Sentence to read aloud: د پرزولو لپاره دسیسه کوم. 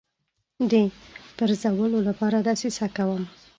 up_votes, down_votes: 2, 0